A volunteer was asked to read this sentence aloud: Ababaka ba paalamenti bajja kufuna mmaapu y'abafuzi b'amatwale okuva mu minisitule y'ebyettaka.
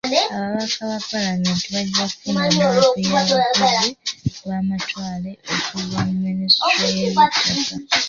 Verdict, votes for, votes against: rejected, 0, 2